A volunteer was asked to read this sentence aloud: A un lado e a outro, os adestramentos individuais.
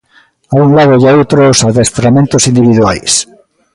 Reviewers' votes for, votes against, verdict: 2, 0, accepted